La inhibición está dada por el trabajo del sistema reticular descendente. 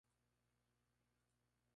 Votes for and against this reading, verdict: 0, 2, rejected